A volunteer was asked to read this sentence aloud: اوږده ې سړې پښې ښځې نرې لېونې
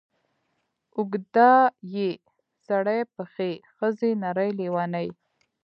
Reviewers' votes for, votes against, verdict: 2, 1, accepted